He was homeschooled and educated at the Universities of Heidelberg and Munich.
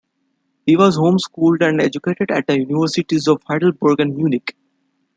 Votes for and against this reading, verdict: 2, 1, accepted